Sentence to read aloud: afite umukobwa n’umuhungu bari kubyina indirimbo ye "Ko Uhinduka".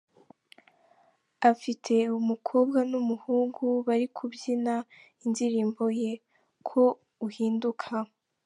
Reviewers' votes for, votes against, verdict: 2, 1, accepted